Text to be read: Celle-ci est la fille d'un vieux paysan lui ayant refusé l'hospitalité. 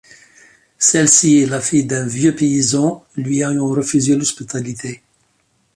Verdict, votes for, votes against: accepted, 2, 0